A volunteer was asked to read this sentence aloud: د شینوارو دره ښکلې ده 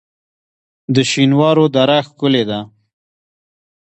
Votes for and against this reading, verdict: 1, 2, rejected